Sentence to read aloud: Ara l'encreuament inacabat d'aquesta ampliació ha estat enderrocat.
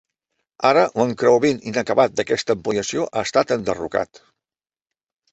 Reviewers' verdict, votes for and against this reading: rejected, 0, 2